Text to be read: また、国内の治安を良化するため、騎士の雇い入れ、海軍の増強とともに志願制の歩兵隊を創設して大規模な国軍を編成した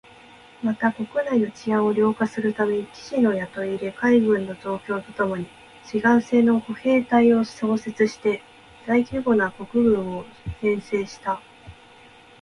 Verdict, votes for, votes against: accepted, 2, 1